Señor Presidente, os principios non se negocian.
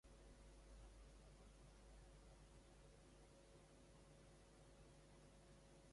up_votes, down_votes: 0, 2